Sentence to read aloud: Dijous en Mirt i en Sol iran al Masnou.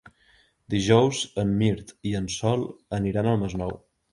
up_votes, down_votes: 0, 3